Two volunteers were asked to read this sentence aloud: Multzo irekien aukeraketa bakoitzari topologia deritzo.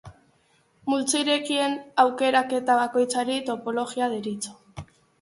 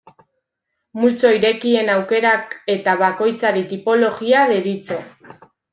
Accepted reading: first